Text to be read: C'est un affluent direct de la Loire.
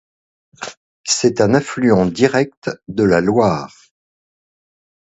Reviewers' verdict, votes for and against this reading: accepted, 2, 0